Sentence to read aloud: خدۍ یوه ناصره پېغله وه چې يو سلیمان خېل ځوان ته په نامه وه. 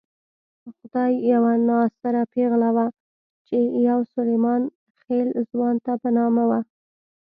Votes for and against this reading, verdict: 1, 2, rejected